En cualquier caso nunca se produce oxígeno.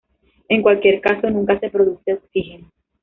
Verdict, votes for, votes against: rejected, 0, 2